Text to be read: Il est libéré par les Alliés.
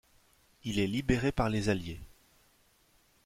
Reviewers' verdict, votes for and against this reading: accepted, 2, 0